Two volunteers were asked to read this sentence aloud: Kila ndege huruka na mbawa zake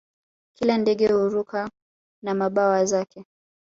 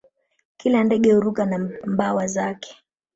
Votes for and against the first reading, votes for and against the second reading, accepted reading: 3, 1, 1, 2, first